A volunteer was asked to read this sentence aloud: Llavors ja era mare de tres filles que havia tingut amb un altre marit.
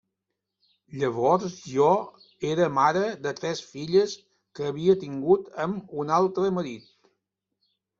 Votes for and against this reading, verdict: 0, 2, rejected